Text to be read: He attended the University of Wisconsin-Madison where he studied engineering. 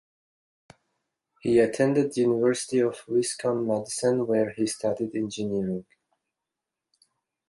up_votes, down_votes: 1, 2